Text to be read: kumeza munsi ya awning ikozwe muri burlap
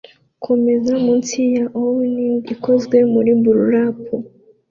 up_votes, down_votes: 2, 1